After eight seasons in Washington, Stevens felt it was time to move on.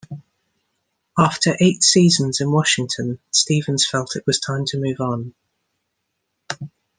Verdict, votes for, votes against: accepted, 2, 0